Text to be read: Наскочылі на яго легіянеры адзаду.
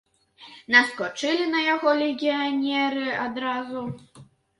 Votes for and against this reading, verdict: 0, 2, rejected